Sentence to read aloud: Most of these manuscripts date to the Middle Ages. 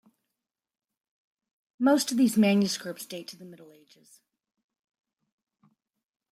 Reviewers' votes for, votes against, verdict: 1, 2, rejected